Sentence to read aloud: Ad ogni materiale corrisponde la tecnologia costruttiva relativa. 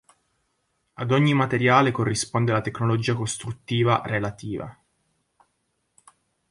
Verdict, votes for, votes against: accepted, 3, 0